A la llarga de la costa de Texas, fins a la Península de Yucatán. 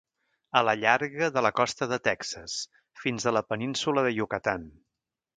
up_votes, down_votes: 2, 0